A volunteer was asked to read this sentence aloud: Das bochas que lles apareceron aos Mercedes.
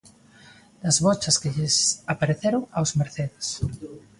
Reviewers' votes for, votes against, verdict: 2, 1, accepted